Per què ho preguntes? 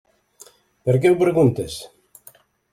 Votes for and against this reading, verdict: 3, 0, accepted